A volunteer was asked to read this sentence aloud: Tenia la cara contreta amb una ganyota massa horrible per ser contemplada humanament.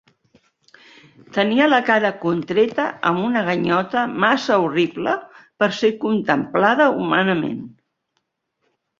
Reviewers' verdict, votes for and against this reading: accepted, 5, 0